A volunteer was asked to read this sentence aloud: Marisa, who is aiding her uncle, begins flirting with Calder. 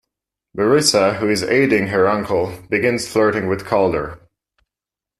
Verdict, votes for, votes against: accepted, 2, 0